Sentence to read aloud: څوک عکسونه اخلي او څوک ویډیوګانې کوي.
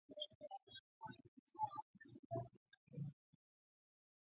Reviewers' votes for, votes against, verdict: 0, 2, rejected